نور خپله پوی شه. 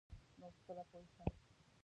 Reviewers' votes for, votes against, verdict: 0, 2, rejected